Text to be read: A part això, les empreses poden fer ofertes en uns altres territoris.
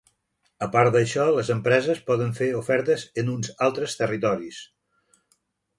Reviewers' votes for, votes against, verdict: 0, 2, rejected